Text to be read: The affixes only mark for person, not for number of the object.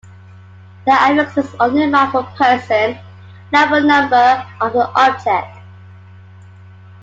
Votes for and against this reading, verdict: 2, 1, accepted